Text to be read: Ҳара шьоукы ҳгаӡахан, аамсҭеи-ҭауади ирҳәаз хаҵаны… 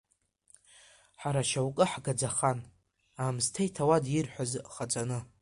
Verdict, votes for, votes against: rejected, 1, 2